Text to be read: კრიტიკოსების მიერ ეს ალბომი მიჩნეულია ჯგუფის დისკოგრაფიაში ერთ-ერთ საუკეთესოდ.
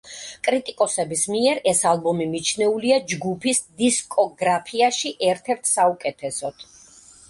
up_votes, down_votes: 2, 1